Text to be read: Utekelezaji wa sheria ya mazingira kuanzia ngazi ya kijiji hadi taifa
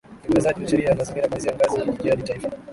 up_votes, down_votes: 4, 2